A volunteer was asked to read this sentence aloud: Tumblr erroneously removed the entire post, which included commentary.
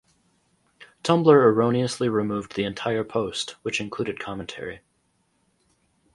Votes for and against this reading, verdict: 4, 0, accepted